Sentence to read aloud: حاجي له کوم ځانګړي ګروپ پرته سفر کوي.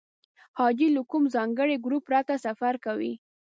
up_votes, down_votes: 2, 0